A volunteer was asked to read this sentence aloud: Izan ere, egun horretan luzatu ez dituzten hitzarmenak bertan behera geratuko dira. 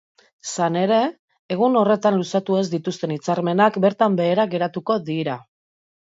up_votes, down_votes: 2, 1